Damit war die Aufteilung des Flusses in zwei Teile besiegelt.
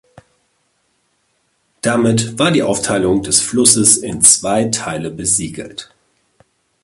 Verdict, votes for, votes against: accepted, 2, 0